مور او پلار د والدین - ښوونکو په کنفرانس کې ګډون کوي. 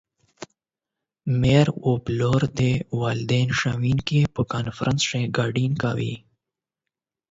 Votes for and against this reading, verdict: 8, 4, accepted